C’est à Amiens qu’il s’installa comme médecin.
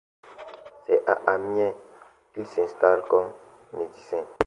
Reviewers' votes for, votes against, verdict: 1, 2, rejected